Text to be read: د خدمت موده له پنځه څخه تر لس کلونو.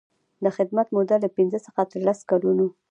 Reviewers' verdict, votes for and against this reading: accepted, 2, 0